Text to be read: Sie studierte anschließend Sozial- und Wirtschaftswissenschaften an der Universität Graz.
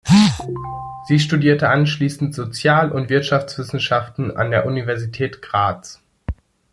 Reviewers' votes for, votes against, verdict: 2, 1, accepted